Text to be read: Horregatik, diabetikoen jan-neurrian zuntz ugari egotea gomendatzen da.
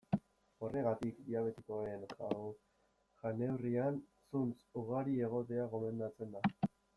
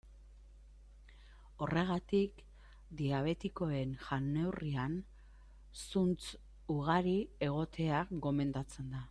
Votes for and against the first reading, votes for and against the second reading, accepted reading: 0, 2, 2, 1, second